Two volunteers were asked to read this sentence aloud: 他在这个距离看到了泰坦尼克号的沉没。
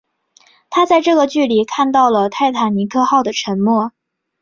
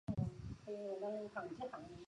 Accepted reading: first